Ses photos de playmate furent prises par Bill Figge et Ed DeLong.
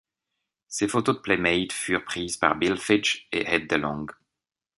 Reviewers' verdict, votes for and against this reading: accepted, 2, 0